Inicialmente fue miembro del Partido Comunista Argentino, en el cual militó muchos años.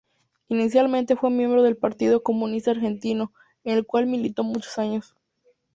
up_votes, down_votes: 2, 0